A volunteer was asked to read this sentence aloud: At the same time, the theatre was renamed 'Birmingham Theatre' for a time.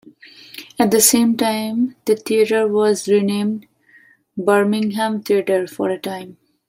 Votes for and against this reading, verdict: 2, 0, accepted